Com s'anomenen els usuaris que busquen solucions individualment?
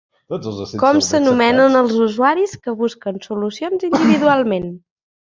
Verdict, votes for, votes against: rejected, 1, 2